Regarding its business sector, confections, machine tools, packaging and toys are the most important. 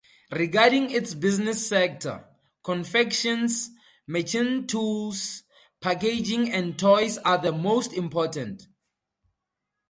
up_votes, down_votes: 2, 0